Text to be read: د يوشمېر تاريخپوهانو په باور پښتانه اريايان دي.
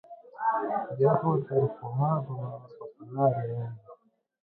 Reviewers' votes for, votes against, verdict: 0, 2, rejected